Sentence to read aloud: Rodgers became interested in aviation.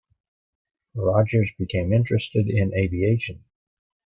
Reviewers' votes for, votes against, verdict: 2, 0, accepted